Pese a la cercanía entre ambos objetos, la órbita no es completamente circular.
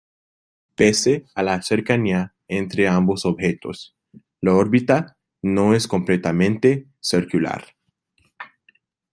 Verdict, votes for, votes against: rejected, 0, 2